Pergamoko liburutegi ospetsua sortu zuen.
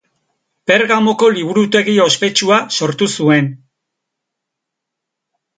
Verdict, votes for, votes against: accepted, 2, 0